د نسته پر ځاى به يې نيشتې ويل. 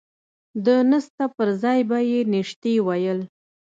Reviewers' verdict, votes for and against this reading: accepted, 2, 0